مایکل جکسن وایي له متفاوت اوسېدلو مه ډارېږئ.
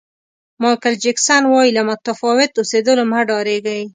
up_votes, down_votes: 2, 0